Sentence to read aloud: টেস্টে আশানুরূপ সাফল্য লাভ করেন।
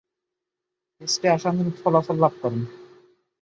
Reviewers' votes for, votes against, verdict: 1, 11, rejected